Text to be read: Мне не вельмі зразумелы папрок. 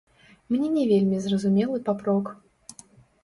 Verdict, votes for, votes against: rejected, 0, 3